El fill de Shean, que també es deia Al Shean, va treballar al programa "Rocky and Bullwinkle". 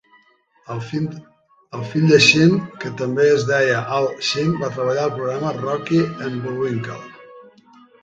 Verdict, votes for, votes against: rejected, 1, 2